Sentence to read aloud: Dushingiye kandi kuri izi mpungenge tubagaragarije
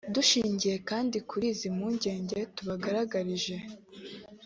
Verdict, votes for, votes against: accepted, 2, 0